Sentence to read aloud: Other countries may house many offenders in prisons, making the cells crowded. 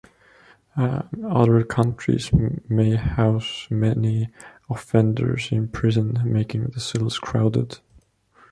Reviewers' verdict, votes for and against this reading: accepted, 2, 0